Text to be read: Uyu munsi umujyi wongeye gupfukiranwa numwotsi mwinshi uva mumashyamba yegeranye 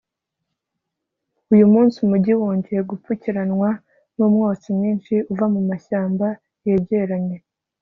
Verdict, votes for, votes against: accepted, 2, 0